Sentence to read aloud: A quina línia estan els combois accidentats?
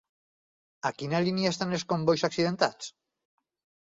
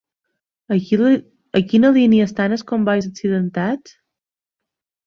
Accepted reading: first